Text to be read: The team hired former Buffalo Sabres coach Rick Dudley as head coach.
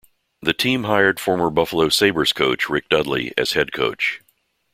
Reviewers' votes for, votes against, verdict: 2, 0, accepted